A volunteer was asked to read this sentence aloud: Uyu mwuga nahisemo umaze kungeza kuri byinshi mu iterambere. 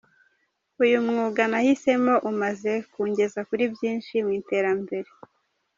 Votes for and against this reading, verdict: 2, 0, accepted